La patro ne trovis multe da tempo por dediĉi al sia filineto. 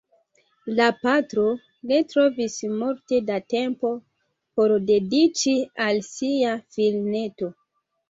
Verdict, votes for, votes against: rejected, 0, 2